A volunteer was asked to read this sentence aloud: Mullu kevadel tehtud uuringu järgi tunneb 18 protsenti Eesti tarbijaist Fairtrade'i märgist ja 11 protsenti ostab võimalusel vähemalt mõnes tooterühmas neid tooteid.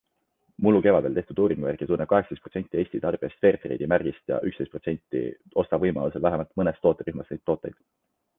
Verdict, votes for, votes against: rejected, 0, 2